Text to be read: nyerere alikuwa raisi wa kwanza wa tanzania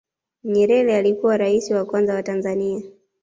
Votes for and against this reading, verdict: 2, 0, accepted